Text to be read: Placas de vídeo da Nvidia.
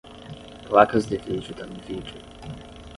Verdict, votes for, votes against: accepted, 10, 0